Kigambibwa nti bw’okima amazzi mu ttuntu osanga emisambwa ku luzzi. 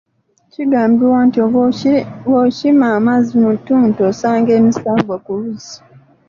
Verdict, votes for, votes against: rejected, 0, 2